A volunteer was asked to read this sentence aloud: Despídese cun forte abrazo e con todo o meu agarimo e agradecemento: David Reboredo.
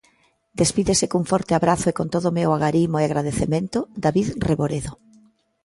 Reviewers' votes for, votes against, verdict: 2, 0, accepted